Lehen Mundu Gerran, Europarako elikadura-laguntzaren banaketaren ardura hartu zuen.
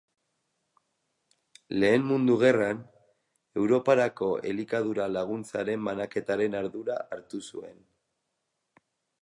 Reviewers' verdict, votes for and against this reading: accepted, 2, 0